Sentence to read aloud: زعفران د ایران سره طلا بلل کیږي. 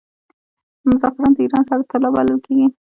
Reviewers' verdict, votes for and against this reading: rejected, 1, 2